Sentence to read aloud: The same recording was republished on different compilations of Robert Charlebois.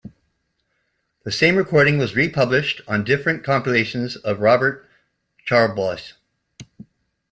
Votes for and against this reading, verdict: 2, 1, accepted